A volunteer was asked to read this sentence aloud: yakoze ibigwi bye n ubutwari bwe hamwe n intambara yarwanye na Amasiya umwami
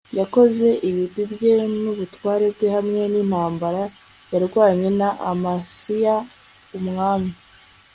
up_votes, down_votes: 1, 2